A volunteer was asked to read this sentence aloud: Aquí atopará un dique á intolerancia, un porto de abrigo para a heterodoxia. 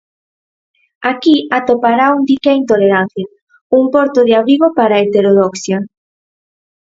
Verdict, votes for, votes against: accepted, 4, 0